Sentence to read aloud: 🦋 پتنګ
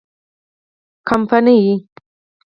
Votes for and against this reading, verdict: 0, 4, rejected